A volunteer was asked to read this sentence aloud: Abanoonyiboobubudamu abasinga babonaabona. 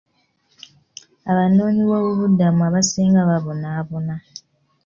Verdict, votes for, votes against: accepted, 2, 0